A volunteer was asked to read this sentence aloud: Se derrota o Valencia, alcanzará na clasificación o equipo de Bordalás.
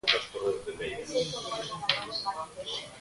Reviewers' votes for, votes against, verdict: 0, 2, rejected